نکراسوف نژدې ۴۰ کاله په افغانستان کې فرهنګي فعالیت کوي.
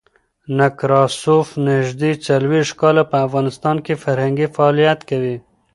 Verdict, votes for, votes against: rejected, 0, 2